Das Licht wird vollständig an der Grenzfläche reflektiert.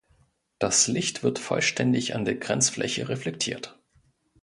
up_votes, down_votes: 2, 0